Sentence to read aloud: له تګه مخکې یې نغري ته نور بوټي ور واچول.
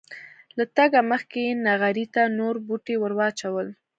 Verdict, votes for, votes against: accepted, 2, 0